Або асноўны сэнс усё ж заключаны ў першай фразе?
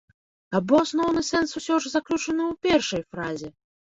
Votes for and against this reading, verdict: 0, 2, rejected